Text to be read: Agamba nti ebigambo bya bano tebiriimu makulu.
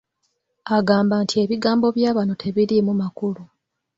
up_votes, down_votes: 2, 0